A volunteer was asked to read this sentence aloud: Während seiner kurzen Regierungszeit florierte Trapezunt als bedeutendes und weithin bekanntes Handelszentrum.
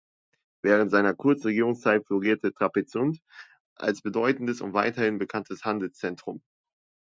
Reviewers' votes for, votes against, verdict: 1, 2, rejected